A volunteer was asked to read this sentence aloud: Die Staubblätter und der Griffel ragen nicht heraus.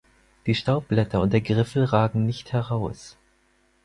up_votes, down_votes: 4, 0